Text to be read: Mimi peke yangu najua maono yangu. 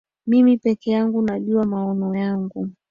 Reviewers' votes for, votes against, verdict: 2, 1, accepted